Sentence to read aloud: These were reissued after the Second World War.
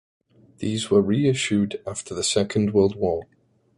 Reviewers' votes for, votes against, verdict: 2, 0, accepted